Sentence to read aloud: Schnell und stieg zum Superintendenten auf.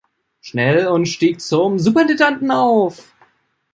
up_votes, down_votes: 0, 2